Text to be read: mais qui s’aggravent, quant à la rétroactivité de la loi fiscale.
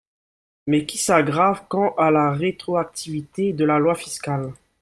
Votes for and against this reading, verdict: 0, 2, rejected